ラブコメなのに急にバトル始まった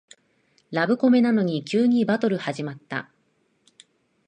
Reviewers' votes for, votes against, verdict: 6, 0, accepted